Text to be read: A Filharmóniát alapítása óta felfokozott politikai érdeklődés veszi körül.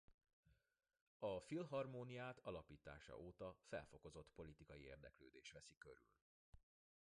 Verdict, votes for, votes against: accepted, 2, 1